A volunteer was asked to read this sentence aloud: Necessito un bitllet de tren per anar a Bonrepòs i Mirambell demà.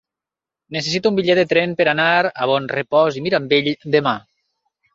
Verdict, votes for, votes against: accepted, 3, 0